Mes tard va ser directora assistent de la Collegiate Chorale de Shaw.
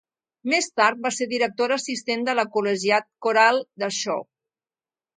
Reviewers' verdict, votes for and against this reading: accepted, 2, 0